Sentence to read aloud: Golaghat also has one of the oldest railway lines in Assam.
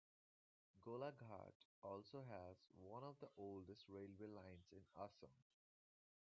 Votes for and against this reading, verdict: 2, 1, accepted